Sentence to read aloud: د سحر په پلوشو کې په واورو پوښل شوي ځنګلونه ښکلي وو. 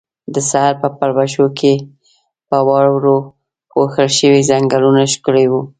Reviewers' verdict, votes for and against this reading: accepted, 2, 0